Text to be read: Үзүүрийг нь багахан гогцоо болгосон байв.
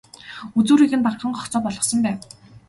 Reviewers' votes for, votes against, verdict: 0, 2, rejected